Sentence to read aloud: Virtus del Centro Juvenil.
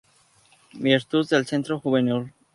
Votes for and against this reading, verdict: 0, 2, rejected